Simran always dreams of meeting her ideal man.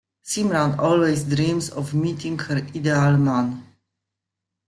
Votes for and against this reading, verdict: 2, 1, accepted